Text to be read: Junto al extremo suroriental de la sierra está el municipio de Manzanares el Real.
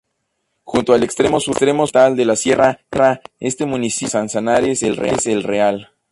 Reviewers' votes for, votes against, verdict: 0, 2, rejected